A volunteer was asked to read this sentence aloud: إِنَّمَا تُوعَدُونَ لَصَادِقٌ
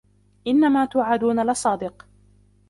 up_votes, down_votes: 1, 2